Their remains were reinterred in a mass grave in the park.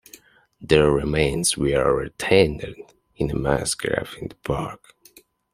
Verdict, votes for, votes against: rejected, 1, 2